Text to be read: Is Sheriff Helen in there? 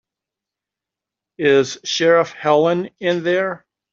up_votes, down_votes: 2, 0